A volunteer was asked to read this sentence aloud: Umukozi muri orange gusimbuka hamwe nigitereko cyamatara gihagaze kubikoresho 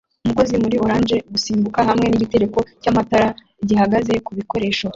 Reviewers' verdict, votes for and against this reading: accepted, 2, 1